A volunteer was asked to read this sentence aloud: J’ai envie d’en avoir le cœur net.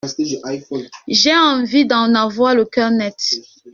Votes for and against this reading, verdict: 0, 2, rejected